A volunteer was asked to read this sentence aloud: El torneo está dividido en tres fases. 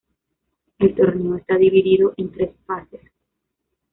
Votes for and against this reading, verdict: 2, 0, accepted